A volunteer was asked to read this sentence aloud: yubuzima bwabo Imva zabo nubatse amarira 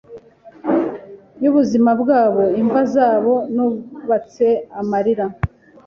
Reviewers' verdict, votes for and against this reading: accepted, 2, 0